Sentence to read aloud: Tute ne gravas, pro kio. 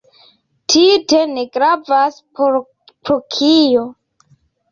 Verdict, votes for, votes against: accepted, 2, 1